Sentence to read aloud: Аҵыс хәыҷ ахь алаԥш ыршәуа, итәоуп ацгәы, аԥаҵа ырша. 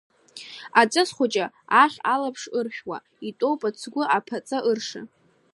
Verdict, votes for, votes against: accepted, 2, 0